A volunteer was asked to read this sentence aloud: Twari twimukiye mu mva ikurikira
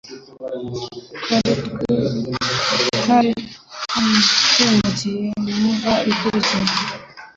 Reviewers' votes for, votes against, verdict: 1, 2, rejected